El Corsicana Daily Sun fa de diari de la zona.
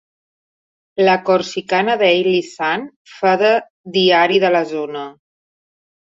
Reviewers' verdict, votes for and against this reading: rejected, 0, 3